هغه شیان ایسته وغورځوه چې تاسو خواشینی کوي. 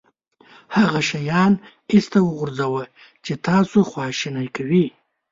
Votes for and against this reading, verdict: 2, 0, accepted